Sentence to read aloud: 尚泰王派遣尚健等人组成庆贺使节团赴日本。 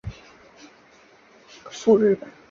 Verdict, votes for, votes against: rejected, 0, 2